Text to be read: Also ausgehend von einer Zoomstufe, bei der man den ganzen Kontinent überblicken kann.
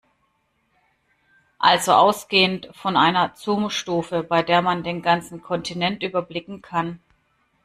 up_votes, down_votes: 2, 0